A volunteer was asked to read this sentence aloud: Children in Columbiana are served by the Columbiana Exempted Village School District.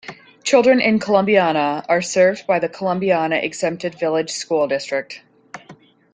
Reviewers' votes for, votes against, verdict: 2, 0, accepted